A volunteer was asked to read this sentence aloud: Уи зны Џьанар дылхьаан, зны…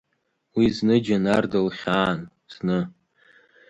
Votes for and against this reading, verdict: 3, 1, accepted